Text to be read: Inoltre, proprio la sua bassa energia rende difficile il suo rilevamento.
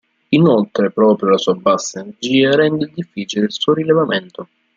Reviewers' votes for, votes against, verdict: 0, 2, rejected